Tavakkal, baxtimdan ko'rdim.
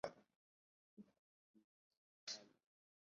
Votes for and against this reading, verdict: 1, 2, rejected